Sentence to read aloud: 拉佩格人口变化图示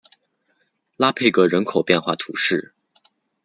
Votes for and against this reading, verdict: 2, 0, accepted